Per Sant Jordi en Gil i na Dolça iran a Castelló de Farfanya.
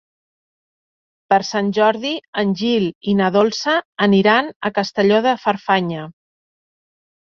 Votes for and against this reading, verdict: 0, 2, rejected